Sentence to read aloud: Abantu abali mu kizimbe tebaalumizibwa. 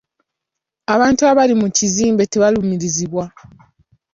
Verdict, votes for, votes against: rejected, 1, 2